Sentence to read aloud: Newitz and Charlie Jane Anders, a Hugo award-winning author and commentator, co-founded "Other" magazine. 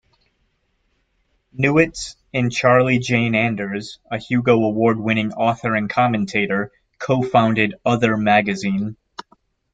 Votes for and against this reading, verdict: 2, 0, accepted